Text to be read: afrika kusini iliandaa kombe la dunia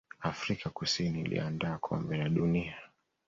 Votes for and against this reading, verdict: 2, 0, accepted